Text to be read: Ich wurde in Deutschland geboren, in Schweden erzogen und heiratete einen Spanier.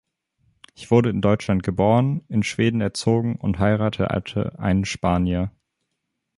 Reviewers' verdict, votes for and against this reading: rejected, 0, 2